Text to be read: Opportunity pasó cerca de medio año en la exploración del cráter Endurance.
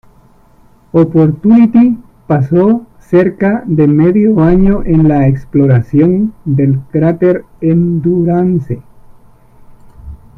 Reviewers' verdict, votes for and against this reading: rejected, 1, 2